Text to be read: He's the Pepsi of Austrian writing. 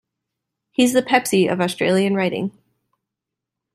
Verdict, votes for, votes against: rejected, 1, 2